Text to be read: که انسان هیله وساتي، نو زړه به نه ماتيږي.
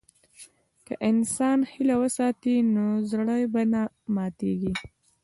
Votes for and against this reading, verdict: 2, 0, accepted